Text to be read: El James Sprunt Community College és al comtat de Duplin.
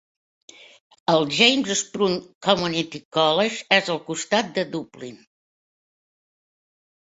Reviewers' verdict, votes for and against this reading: rejected, 0, 2